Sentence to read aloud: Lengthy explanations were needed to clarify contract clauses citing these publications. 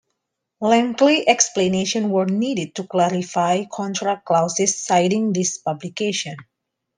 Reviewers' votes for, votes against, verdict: 2, 0, accepted